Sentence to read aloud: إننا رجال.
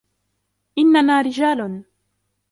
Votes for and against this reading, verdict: 2, 1, accepted